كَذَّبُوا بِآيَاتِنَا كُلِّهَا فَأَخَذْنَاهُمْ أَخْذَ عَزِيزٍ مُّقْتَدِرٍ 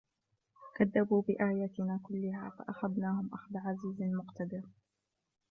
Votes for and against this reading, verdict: 1, 2, rejected